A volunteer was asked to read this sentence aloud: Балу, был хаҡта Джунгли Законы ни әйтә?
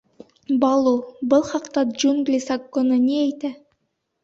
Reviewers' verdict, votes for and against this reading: accepted, 2, 0